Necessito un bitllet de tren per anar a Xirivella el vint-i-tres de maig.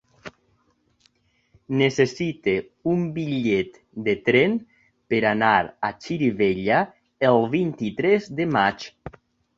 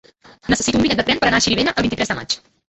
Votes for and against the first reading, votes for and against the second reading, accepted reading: 2, 0, 1, 2, first